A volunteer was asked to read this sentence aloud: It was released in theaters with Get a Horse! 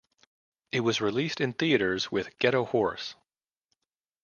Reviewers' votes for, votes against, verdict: 2, 0, accepted